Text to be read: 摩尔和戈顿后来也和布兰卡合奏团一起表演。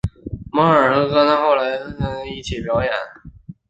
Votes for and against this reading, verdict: 4, 0, accepted